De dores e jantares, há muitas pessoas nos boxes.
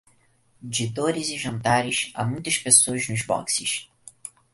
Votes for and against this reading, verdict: 4, 0, accepted